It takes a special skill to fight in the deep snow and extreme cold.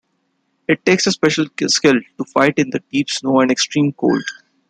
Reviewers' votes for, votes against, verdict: 2, 0, accepted